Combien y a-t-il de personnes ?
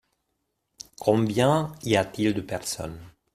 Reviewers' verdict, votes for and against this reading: accepted, 2, 0